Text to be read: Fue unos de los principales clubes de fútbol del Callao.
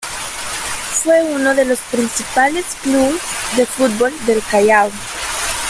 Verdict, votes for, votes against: accepted, 2, 0